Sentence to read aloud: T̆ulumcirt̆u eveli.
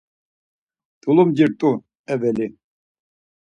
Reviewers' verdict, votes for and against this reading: accepted, 4, 0